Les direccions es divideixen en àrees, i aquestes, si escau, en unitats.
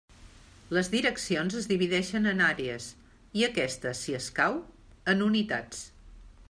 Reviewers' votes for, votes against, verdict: 2, 0, accepted